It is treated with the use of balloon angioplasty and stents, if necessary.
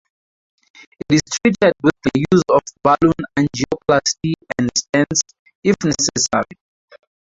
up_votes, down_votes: 0, 2